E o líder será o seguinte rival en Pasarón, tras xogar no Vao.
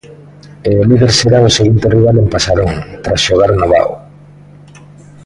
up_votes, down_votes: 2, 0